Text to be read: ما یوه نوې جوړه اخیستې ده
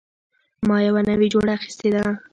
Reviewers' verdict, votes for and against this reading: accepted, 2, 1